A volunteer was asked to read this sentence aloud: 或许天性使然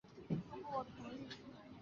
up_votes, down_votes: 0, 2